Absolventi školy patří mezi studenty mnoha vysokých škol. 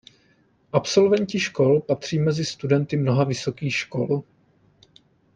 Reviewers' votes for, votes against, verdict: 0, 2, rejected